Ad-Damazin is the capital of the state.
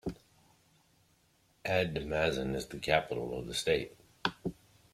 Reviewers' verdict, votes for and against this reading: rejected, 0, 2